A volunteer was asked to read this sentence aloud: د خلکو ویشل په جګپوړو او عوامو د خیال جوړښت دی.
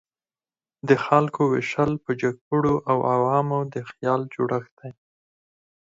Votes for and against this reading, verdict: 2, 4, rejected